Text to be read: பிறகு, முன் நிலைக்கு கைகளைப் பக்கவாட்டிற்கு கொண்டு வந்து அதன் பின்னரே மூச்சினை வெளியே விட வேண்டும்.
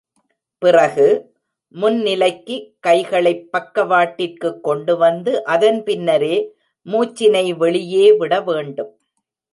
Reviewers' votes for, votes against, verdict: 2, 0, accepted